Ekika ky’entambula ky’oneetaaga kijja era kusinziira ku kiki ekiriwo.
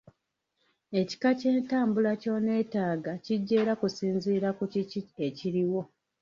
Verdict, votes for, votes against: rejected, 1, 2